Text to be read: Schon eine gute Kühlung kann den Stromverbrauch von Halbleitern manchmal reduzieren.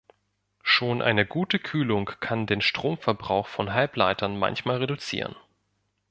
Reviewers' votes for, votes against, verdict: 2, 0, accepted